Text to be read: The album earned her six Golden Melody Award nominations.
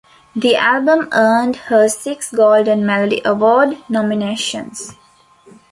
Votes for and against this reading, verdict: 3, 0, accepted